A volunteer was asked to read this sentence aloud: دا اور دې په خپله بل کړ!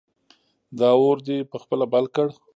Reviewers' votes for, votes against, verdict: 1, 2, rejected